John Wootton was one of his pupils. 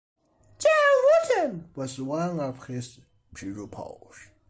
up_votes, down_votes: 0, 2